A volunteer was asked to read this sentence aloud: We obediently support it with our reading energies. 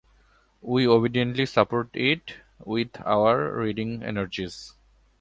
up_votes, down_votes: 2, 0